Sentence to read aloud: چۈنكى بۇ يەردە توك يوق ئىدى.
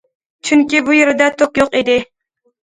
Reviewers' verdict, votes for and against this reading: accepted, 2, 0